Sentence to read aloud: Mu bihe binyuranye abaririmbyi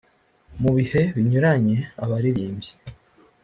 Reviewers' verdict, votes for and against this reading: accepted, 2, 0